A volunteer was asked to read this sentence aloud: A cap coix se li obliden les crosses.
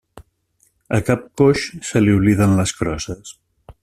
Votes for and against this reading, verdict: 3, 0, accepted